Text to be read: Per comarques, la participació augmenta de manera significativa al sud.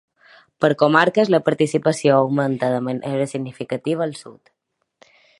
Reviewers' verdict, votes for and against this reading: accepted, 2, 0